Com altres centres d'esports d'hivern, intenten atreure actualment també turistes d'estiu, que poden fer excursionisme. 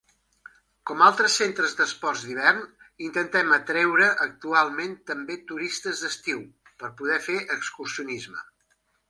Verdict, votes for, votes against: rejected, 0, 2